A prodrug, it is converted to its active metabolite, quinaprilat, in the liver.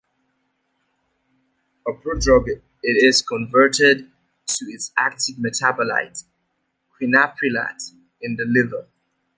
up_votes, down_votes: 2, 0